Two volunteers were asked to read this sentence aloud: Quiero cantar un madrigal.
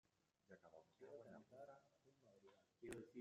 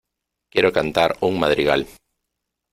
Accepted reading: second